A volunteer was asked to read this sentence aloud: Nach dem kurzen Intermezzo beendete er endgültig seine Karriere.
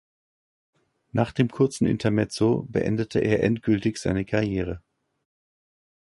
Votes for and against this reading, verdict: 2, 0, accepted